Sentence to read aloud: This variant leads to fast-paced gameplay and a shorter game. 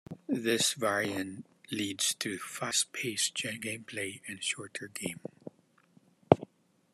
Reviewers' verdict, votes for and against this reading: accepted, 2, 1